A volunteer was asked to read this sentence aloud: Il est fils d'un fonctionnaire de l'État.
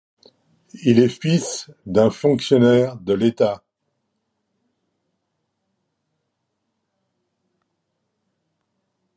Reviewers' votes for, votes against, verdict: 2, 0, accepted